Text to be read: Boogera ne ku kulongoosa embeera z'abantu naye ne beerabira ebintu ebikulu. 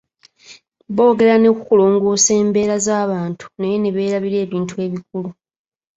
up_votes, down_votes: 3, 0